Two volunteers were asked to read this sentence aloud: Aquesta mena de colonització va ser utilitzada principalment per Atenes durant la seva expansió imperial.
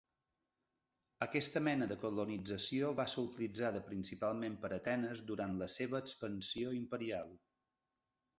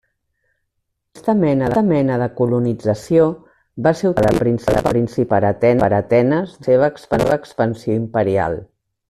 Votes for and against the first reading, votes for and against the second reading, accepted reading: 2, 0, 0, 2, first